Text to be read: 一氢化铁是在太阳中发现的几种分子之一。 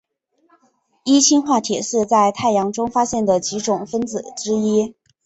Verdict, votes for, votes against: accepted, 2, 0